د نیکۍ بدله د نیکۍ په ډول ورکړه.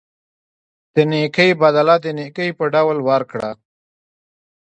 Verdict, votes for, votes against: accepted, 2, 1